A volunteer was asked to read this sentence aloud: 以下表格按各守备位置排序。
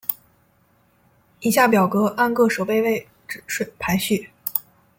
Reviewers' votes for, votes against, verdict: 0, 2, rejected